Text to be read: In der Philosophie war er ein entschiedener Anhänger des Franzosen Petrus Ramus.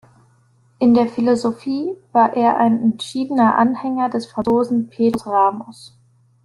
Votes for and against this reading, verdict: 0, 2, rejected